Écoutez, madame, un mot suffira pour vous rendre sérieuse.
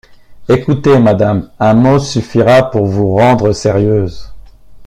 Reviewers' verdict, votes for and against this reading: accepted, 2, 0